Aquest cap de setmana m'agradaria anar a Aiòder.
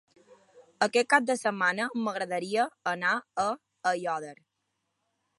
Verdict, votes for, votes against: accepted, 2, 0